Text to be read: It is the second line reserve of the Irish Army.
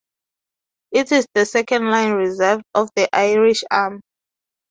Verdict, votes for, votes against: rejected, 0, 2